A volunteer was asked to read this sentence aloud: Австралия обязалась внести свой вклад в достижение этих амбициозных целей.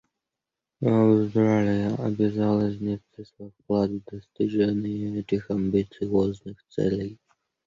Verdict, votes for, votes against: rejected, 1, 2